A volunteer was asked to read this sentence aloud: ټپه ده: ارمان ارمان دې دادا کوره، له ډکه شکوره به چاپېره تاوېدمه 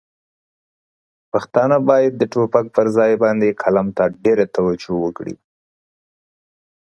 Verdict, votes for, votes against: rejected, 1, 2